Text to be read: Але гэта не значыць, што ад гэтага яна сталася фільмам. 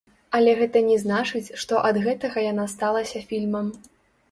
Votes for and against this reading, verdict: 0, 2, rejected